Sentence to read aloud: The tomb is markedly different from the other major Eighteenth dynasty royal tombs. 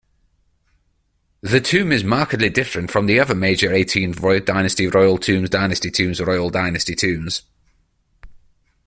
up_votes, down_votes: 0, 3